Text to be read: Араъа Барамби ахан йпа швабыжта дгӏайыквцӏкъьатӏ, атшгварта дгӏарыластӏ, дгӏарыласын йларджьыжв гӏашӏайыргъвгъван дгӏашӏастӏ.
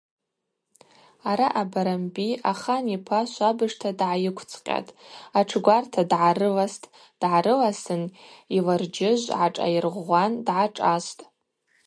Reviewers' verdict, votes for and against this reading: accepted, 2, 0